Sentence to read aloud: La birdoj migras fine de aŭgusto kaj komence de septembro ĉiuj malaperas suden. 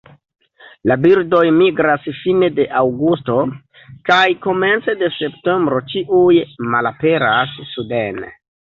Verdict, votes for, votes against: rejected, 1, 2